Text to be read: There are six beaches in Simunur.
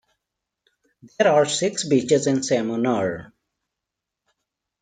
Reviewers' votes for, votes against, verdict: 2, 0, accepted